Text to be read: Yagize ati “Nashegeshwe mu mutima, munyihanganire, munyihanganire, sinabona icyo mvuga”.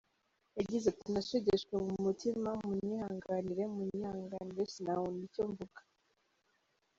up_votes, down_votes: 1, 2